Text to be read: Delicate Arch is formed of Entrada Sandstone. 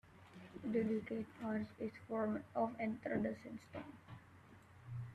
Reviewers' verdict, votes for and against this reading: rejected, 0, 2